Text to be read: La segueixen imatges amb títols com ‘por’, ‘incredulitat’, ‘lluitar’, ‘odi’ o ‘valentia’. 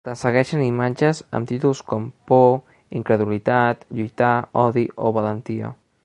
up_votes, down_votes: 3, 0